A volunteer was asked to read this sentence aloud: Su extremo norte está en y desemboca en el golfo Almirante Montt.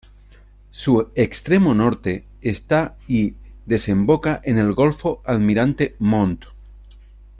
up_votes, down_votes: 2, 0